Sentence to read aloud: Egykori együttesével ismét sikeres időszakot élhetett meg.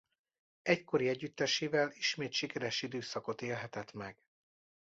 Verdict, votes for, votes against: accepted, 2, 0